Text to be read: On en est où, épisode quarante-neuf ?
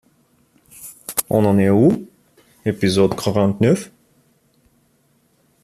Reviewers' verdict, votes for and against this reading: accepted, 2, 0